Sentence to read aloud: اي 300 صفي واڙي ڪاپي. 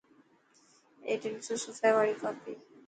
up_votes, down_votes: 0, 2